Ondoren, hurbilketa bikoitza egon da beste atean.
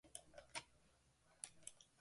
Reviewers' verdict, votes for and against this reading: rejected, 0, 2